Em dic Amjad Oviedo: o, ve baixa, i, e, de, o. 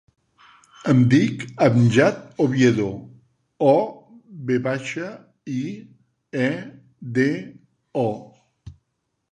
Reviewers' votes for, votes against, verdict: 4, 0, accepted